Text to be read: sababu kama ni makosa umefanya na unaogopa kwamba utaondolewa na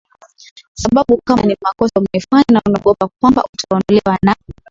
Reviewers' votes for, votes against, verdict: 2, 0, accepted